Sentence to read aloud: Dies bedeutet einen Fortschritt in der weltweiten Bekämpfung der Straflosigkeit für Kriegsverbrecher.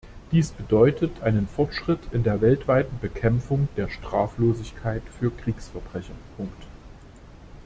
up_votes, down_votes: 0, 3